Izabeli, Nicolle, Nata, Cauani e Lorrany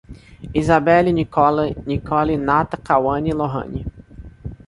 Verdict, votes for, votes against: rejected, 0, 2